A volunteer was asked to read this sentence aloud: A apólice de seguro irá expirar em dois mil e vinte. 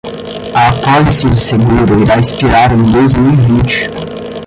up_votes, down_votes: 5, 5